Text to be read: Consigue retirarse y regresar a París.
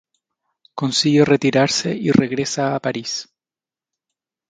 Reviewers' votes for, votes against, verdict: 0, 2, rejected